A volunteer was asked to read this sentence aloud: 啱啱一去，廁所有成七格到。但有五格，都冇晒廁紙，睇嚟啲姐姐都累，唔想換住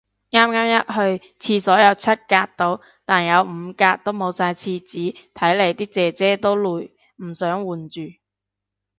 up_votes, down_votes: 1, 2